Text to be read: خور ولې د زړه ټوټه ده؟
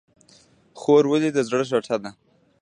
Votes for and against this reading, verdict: 2, 0, accepted